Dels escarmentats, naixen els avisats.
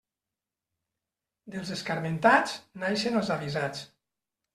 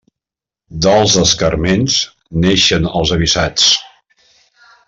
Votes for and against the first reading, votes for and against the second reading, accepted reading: 3, 1, 0, 2, first